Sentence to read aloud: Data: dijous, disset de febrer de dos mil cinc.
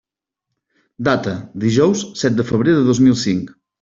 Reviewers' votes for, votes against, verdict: 1, 2, rejected